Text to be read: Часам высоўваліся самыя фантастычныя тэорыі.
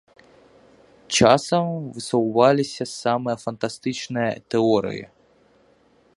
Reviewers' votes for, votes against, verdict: 1, 2, rejected